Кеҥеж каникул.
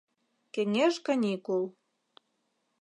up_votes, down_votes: 2, 0